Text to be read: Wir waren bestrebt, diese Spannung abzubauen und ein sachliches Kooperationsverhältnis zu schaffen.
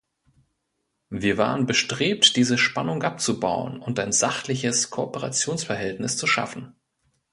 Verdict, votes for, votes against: accepted, 2, 0